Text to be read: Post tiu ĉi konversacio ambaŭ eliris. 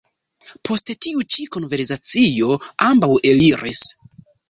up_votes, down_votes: 0, 2